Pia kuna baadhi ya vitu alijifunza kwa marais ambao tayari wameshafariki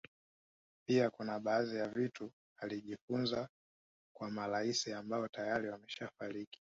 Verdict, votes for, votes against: rejected, 1, 2